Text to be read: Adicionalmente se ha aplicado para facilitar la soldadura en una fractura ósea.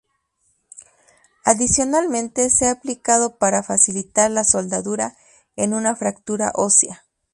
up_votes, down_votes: 4, 0